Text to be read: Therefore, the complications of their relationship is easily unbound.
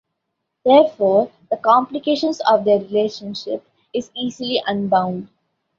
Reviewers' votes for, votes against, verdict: 2, 0, accepted